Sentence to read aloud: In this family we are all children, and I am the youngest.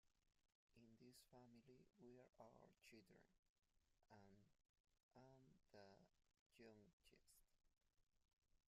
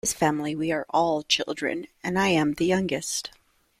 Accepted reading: second